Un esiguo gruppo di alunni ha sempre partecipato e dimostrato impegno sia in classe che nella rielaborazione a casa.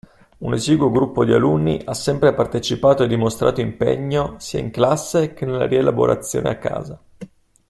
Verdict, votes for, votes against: accepted, 2, 0